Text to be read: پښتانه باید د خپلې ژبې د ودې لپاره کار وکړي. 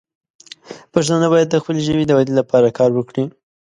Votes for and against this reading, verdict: 2, 0, accepted